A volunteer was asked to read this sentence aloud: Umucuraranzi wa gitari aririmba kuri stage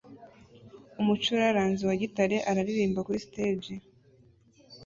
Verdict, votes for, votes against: rejected, 1, 2